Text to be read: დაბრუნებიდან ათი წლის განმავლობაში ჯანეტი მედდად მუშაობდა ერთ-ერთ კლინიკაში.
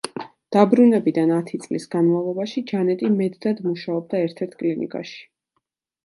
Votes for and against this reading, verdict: 2, 0, accepted